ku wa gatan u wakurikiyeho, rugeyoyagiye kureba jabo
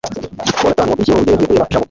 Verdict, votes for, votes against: rejected, 1, 2